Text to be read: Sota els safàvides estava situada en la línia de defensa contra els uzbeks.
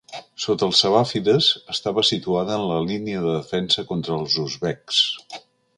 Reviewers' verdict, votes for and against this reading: rejected, 0, 2